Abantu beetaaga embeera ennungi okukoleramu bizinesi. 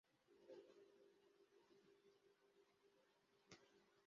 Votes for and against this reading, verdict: 1, 2, rejected